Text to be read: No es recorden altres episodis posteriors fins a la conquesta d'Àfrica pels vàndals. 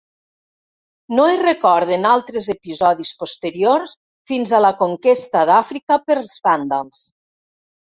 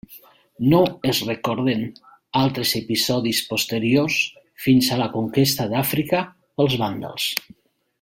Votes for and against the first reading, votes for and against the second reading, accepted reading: 1, 2, 2, 0, second